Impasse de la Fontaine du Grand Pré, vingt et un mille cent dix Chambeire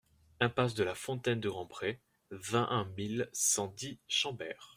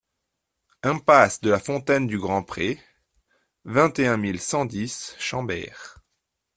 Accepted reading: second